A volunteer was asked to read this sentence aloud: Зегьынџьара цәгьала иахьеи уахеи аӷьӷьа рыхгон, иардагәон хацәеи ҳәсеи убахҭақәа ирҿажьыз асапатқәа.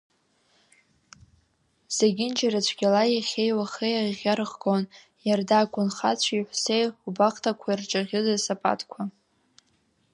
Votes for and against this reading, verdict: 1, 2, rejected